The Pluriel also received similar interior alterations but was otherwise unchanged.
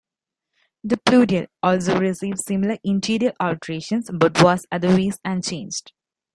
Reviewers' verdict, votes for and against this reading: rejected, 0, 2